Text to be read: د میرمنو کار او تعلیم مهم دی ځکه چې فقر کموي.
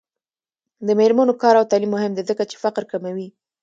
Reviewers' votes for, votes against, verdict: 2, 0, accepted